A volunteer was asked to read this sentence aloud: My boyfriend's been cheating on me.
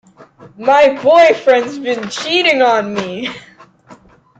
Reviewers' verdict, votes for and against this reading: accepted, 2, 0